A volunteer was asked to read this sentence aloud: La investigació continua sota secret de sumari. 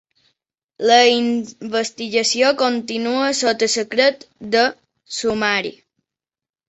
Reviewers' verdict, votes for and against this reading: accepted, 2, 0